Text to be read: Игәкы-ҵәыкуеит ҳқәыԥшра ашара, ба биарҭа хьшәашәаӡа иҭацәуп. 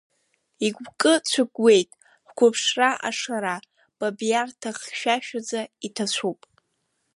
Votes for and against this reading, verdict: 0, 2, rejected